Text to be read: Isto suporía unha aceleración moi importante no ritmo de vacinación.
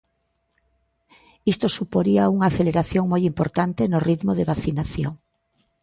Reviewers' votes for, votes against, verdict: 2, 0, accepted